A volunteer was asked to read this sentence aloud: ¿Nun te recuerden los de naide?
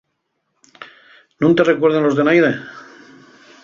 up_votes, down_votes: 4, 0